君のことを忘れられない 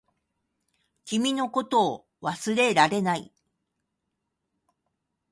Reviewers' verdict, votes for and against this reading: accepted, 2, 0